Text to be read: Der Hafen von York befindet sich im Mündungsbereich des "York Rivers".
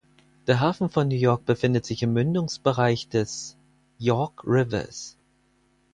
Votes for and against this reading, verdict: 0, 4, rejected